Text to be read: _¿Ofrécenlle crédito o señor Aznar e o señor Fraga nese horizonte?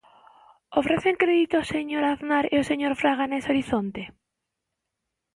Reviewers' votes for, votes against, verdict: 0, 3, rejected